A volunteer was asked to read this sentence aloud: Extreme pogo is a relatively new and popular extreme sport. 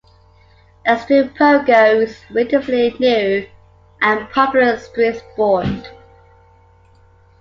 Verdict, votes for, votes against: accepted, 2, 0